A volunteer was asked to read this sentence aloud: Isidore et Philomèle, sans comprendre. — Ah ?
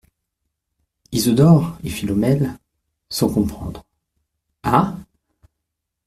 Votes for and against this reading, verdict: 1, 2, rejected